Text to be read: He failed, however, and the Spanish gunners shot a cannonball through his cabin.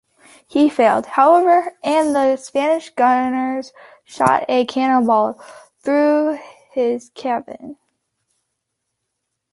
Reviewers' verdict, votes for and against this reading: accepted, 2, 0